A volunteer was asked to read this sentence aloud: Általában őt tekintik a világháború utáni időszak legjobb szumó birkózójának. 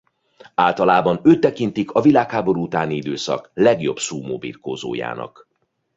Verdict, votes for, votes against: accepted, 2, 0